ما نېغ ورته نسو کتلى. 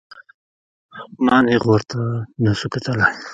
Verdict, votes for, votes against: rejected, 0, 2